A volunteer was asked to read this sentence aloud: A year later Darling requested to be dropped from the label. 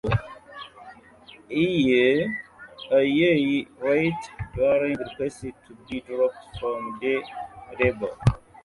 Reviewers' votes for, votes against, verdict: 0, 2, rejected